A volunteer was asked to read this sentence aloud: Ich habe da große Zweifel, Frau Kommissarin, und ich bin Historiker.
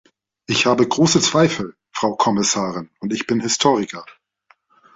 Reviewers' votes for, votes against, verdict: 0, 2, rejected